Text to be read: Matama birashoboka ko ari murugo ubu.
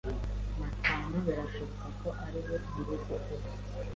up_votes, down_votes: 1, 2